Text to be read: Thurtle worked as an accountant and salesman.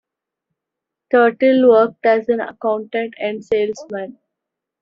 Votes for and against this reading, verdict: 2, 1, accepted